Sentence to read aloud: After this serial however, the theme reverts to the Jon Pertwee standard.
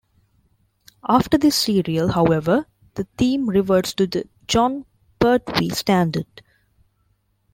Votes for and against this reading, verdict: 0, 2, rejected